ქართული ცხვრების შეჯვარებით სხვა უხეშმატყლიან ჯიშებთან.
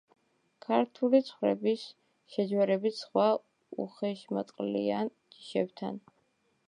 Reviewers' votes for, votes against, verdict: 2, 1, accepted